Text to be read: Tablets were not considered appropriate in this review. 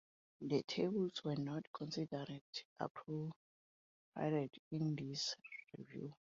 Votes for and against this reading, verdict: 0, 2, rejected